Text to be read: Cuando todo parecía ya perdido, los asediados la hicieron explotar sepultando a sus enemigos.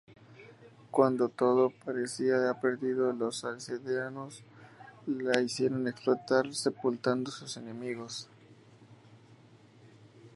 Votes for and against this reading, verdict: 2, 0, accepted